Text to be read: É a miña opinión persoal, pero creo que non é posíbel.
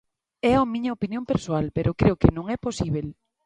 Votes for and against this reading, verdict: 2, 1, accepted